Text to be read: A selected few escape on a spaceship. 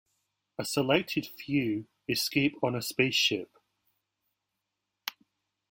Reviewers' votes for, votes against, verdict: 2, 0, accepted